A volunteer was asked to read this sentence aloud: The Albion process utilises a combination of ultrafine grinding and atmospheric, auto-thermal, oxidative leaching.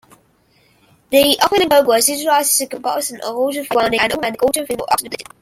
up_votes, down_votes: 0, 2